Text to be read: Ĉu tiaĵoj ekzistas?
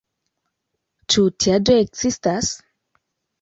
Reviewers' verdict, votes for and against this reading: accepted, 2, 0